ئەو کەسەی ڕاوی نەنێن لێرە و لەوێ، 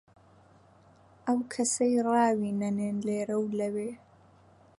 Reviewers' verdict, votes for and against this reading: accepted, 2, 0